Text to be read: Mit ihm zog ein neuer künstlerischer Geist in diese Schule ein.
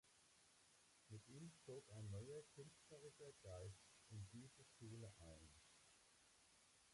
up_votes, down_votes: 0, 2